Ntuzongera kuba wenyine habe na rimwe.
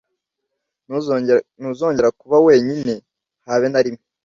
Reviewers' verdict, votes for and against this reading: rejected, 0, 2